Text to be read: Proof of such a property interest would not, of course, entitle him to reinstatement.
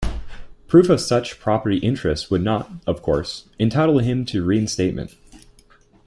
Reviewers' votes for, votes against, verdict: 0, 2, rejected